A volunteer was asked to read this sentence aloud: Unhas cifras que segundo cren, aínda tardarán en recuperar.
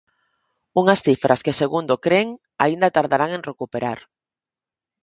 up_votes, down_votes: 4, 0